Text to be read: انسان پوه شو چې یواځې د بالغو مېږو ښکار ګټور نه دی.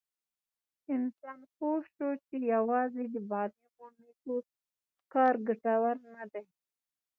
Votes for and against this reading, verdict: 0, 2, rejected